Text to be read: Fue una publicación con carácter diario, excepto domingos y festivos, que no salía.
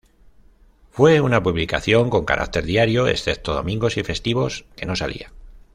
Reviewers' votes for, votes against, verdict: 2, 0, accepted